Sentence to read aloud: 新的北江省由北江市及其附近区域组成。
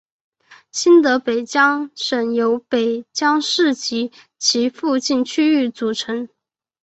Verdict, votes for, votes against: accepted, 2, 0